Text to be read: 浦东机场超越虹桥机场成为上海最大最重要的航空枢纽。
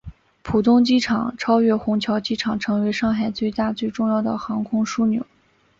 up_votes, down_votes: 2, 0